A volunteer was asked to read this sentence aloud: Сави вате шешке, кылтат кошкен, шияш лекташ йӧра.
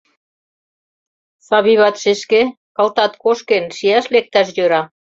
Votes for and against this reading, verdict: 0, 2, rejected